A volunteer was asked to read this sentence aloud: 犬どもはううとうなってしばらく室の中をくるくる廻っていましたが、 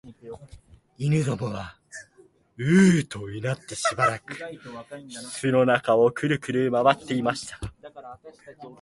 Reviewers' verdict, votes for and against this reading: rejected, 0, 2